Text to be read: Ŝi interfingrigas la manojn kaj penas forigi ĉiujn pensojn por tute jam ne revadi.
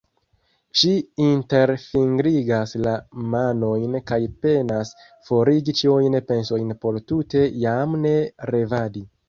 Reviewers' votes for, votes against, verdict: 1, 2, rejected